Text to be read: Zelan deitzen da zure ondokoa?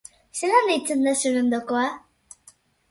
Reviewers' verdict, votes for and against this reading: accepted, 2, 0